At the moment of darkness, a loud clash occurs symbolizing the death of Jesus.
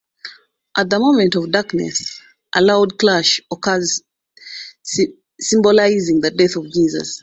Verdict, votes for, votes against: rejected, 1, 2